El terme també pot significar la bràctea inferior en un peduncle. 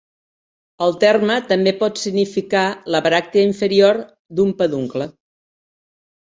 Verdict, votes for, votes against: rejected, 1, 2